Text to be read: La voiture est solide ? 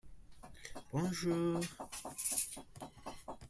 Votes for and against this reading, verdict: 0, 2, rejected